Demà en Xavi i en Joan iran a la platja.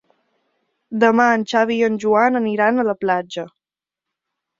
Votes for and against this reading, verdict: 1, 2, rejected